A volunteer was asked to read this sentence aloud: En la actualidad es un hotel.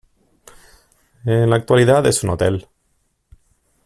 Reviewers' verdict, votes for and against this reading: accepted, 2, 0